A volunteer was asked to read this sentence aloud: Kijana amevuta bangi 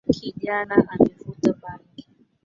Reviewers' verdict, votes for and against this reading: rejected, 1, 2